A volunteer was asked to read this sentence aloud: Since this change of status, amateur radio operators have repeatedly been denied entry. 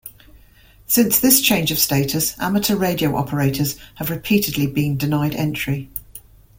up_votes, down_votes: 2, 0